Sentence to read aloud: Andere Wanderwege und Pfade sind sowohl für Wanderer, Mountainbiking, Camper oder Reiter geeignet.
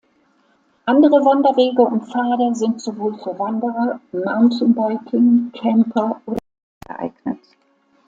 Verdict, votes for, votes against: rejected, 0, 2